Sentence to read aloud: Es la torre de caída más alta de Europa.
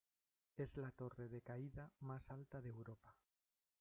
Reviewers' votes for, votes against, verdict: 0, 2, rejected